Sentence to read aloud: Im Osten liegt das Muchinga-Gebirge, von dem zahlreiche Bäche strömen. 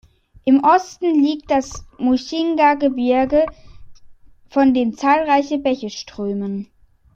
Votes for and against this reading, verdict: 1, 2, rejected